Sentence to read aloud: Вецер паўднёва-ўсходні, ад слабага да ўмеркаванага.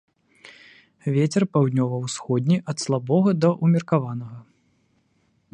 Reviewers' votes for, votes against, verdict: 0, 2, rejected